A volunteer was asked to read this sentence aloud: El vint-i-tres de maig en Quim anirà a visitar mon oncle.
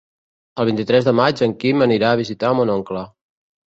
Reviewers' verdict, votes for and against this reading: accepted, 2, 0